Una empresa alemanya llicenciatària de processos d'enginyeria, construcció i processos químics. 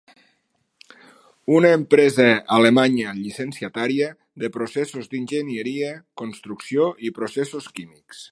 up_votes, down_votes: 3, 0